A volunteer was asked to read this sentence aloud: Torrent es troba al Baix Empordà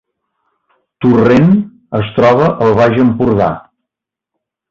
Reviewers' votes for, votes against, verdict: 2, 0, accepted